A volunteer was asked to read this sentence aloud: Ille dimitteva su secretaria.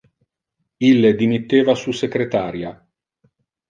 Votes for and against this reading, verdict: 3, 0, accepted